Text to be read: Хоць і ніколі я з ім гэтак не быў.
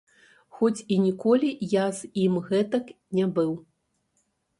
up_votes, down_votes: 1, 2